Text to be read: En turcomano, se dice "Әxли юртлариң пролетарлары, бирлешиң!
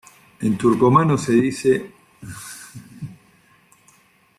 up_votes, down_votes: 1, 2